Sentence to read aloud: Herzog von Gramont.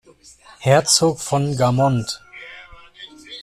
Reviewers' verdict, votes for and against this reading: rejected, 0, 2